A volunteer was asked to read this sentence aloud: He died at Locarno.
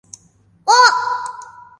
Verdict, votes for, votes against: rejected, 0, 2